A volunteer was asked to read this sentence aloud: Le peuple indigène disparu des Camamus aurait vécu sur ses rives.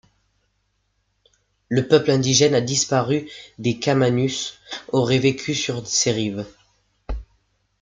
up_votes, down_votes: 0, 2